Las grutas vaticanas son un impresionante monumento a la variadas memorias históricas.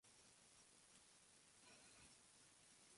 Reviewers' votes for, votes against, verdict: 0, 2, rejected